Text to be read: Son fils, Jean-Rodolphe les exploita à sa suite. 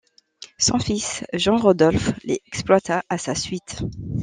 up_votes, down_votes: 2, 0